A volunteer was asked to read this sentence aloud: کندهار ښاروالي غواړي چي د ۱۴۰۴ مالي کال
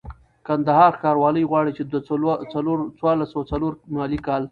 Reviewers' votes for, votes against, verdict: 0, 2, rejected